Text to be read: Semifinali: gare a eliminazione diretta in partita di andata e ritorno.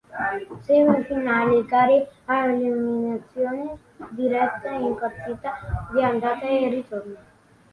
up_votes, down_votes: 2, 1